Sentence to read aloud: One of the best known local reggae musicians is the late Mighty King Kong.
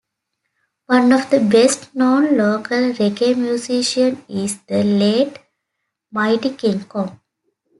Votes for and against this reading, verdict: 0, 2, rejected